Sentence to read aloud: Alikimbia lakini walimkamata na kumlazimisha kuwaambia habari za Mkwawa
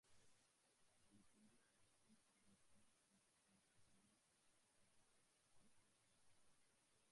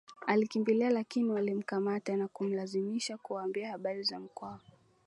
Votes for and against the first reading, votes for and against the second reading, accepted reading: 0, 2, 2, 0, second